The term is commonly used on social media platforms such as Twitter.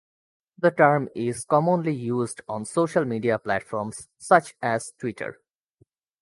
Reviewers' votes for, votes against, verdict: 2, 0, accepted